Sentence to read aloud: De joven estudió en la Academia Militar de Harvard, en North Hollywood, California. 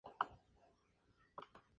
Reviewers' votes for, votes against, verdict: 0, 2, rejected